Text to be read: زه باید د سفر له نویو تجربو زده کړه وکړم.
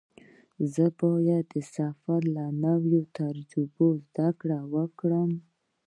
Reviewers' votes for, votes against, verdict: 2, 1, accepted